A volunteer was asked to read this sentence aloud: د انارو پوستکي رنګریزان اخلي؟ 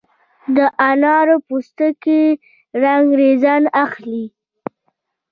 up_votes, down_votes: 1, 2